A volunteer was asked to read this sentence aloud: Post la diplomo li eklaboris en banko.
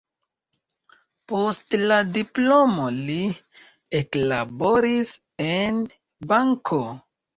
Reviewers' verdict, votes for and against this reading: accepted, 2, 1